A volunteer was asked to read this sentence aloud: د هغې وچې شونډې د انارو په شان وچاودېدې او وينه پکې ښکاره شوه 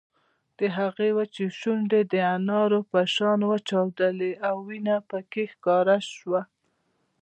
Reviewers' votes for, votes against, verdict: 1, 2, rejected